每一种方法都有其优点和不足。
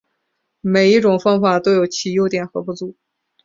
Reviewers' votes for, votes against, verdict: 2, 0, accepted